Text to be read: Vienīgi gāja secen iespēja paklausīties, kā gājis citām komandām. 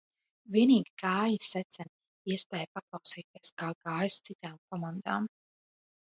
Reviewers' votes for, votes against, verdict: 2, 0, accepted